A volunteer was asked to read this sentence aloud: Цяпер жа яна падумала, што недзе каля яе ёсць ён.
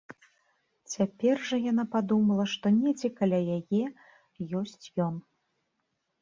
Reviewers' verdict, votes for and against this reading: accepted, 2, 0